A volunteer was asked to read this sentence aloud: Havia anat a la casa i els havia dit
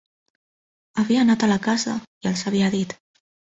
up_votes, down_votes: 4, 0